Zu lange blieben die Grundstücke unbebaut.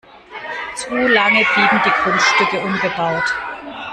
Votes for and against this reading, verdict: 1, 2, rejected